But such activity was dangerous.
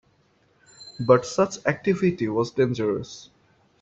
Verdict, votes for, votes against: accepted, 2, 0